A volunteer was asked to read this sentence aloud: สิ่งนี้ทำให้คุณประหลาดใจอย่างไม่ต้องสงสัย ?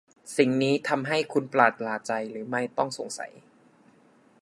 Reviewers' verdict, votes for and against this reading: rejected, 1, 2